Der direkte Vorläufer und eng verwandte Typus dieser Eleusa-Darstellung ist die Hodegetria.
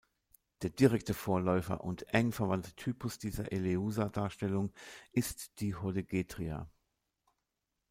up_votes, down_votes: 2, 0